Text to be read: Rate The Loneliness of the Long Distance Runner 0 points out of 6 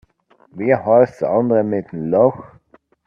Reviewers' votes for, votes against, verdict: 0, 2, rejected